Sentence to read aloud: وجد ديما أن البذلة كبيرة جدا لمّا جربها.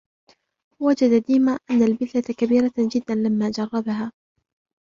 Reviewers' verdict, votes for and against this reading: accepted, 2, 0